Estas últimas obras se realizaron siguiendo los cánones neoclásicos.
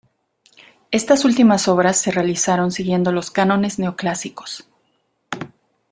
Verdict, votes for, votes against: accepted, 2, 0